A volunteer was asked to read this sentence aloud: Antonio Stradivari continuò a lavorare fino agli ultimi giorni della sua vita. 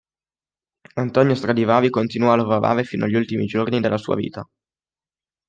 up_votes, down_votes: 2, 0